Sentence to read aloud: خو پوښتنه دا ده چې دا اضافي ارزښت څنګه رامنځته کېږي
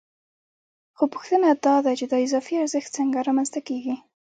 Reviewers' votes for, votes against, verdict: 2, 0, accepted